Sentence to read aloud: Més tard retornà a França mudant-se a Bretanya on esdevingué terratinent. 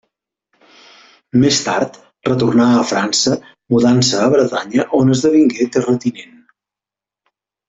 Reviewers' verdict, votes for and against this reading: accepted, 3, 1